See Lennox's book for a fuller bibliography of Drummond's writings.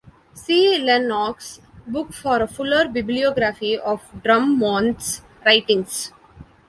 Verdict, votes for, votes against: rejected, 0, 2